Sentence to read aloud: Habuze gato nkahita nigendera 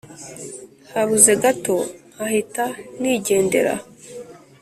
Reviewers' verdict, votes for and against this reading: accepted, 3, 0